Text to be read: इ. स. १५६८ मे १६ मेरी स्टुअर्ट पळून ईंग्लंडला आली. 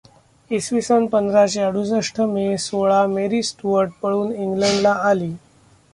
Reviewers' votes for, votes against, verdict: 0, 2, rejected